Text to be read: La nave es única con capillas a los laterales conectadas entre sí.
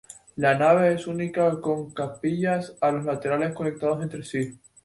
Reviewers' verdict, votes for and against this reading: accepted, 2, 0